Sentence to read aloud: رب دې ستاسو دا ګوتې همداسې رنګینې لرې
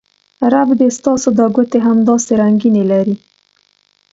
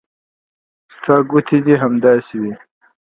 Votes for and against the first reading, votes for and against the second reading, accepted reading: 2, 0, 0, 2, first